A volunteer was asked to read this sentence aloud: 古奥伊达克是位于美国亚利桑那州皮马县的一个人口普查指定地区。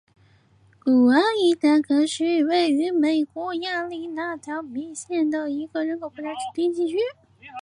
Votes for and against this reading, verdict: 0, 2, rejected